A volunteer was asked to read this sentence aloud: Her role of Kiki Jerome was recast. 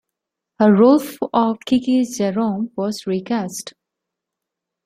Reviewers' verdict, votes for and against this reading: rejected, 1, 2